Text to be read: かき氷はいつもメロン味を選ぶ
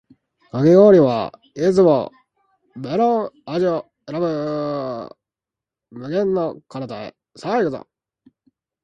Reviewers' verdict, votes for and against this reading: rejected, 1, 2